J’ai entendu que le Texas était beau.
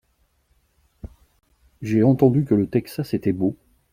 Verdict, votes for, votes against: accepted, 2, 0